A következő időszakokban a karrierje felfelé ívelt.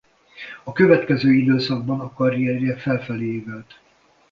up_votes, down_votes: 0, 2